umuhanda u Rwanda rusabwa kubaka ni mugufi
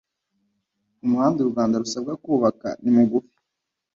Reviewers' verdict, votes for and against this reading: accepted, 2, 0